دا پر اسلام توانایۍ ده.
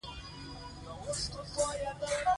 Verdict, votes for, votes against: rejected, 0, 2